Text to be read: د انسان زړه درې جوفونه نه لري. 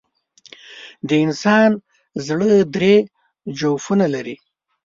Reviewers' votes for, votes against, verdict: 0, 2, rejected